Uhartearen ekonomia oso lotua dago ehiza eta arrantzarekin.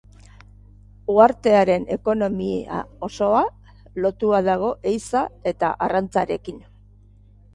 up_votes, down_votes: 2, 3